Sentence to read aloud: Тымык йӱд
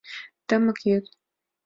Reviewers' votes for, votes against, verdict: 2, 0, accepted